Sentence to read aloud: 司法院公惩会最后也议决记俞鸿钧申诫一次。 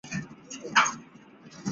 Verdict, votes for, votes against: rejected, 0, 3